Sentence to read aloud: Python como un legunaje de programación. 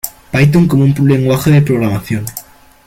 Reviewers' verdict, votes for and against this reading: rejected, 1, 2